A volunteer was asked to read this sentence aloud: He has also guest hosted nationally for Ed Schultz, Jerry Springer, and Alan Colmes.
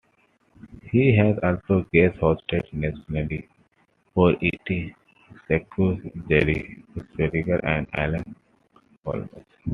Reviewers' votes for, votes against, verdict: 2, 0, accepted